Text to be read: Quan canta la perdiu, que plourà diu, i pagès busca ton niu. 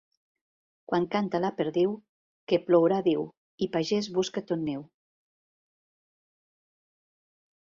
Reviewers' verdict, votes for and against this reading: accepted, 2, 0